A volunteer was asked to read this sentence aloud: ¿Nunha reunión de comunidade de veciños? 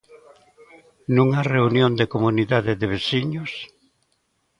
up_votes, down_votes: 0, 2